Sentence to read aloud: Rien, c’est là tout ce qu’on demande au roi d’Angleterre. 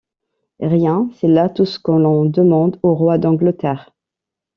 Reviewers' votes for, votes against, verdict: 0, 2, rejected